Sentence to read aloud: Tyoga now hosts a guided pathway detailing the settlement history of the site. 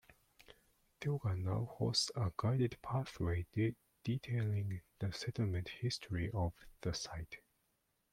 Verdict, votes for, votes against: rejected, 0, 2